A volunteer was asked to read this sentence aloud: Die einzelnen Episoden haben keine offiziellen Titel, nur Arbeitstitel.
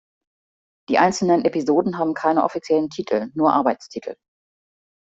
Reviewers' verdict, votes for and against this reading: accepted, 2, 0